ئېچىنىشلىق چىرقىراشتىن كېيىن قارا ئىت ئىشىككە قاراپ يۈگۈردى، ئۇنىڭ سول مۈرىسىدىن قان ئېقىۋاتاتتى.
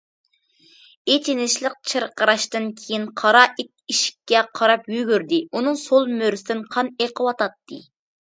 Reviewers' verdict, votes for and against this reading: accepted, 2, 0